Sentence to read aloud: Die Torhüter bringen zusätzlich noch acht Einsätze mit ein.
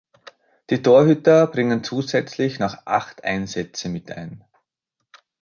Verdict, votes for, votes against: rejected, 2, 3